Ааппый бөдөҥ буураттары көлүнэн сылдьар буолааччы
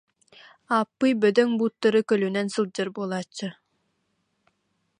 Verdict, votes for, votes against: rejected, 0, 2